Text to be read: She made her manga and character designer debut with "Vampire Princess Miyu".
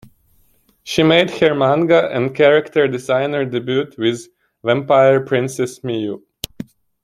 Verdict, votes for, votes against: accepted, 2, 1